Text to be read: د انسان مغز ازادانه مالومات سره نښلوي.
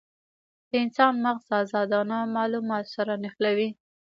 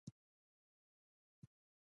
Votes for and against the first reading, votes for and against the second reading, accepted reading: 2, 0, 0, 2, first